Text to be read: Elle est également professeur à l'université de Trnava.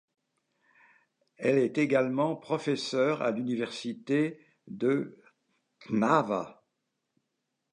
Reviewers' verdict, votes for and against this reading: rejected, 1, 2